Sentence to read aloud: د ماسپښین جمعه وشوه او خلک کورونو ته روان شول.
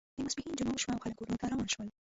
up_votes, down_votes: 0, 2